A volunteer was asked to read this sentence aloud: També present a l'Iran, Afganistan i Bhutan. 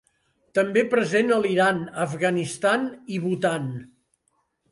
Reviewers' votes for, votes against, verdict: 6, 0, accepted